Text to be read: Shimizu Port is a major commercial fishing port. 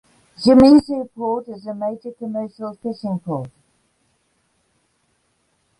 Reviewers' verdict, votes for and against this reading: accepted, 2, 0